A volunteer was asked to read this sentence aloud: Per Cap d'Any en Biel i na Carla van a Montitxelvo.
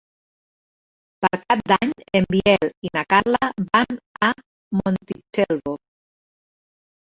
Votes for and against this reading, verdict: 1, 2, rejected